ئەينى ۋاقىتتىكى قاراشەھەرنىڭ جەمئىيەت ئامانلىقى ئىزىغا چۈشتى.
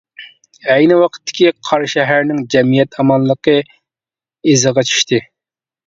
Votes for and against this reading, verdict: 2, 0, accepted